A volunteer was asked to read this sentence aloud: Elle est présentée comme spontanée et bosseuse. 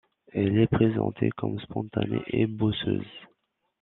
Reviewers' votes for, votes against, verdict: 2, 0, accepted